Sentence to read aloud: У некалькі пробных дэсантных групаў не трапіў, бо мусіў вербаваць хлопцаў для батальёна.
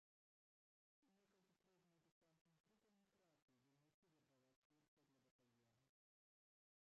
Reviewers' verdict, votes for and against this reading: rejected, 0, 2